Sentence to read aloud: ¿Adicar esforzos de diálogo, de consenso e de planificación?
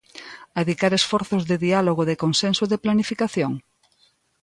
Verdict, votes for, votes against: accepted, 2, 0